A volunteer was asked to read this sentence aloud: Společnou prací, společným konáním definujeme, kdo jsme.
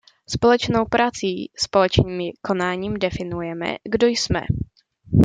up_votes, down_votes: 2, 0